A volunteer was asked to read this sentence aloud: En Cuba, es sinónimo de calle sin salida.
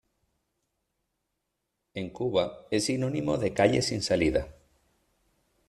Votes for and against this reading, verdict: 2, 0, accepted